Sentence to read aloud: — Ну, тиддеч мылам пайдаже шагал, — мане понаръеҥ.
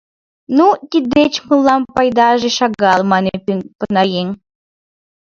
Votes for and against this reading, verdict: 1, 2, rejected